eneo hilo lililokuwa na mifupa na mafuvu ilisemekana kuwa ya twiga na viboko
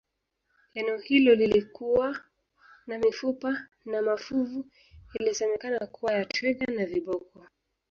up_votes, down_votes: 2, 1